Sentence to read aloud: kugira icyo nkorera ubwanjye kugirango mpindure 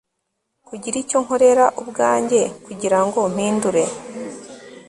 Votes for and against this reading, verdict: 2, 0, accepted